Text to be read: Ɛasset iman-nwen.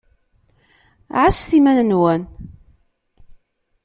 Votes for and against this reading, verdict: 2, 0, accepted